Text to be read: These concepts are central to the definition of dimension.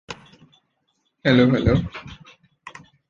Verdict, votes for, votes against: rejected, 0, 2